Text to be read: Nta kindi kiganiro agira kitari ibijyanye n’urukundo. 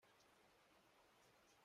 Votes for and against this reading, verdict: 0, 2, rejected